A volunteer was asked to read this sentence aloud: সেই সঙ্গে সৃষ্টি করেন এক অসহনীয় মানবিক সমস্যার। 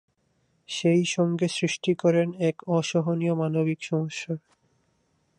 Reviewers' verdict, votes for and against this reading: accepted, 2, 0